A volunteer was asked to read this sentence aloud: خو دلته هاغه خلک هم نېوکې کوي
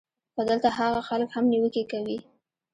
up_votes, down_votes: 0, 2